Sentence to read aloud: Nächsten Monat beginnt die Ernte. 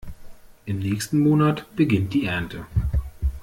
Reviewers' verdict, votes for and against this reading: rejected, 0, 2